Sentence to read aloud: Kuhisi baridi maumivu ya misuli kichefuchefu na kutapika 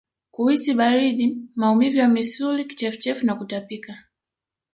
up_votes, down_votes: 2, 0